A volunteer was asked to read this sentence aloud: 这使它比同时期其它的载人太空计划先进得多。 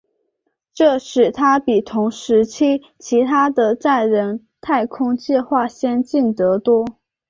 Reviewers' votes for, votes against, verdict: 2, 0, accepted